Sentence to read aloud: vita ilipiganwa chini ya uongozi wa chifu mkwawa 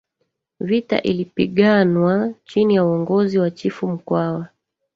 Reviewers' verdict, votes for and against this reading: accepted, 2, 1